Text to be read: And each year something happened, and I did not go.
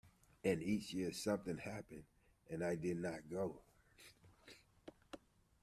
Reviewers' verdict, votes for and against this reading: rejected, 1, 2